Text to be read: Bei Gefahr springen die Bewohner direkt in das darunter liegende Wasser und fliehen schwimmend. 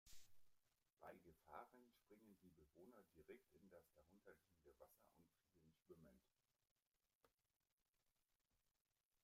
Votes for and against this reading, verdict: 0, 2, rejected